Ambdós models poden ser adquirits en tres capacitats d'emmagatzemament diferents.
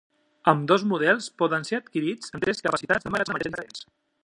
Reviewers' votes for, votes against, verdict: 0, 2, rejected